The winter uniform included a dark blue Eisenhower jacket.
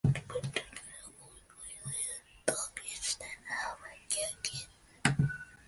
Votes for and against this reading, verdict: 0, 2, rejected